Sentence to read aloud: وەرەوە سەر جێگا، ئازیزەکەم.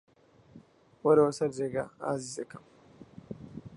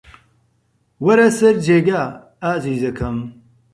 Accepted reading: first